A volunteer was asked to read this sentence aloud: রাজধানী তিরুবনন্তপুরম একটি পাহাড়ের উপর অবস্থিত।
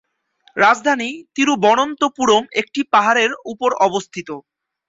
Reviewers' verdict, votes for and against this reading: accepted, 2, 0